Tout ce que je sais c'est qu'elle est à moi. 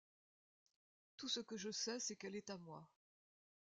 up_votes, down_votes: 1, 2